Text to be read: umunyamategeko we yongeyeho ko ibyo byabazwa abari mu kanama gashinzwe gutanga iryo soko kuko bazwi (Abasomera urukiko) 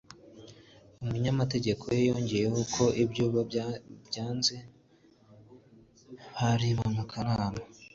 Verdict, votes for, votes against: accepted, 2, 1